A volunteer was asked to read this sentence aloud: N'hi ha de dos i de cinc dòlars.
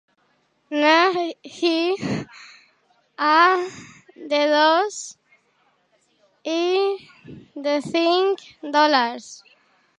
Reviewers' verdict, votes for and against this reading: rejected, 0, 2